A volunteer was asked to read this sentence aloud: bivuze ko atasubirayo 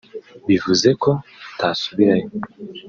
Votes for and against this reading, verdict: 2, 0, accepted